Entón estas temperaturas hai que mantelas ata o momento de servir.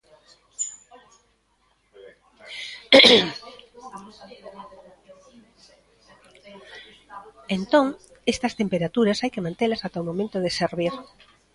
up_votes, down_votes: 1, 2